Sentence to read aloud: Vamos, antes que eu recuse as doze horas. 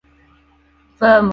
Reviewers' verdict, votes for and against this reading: rejected, 0, 2